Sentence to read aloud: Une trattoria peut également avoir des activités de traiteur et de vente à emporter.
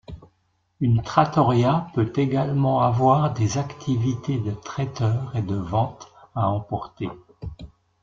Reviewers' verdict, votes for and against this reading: accepted, 2, 0